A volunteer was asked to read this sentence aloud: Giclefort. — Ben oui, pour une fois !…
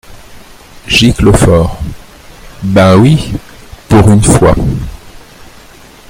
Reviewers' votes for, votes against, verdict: 0, 2, rejected